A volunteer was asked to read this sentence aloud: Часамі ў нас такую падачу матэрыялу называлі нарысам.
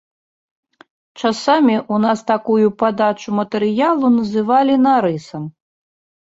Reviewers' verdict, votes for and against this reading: rejected, 1, 2